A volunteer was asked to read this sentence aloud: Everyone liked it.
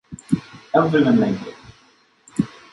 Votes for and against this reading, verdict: 2, 1, accepted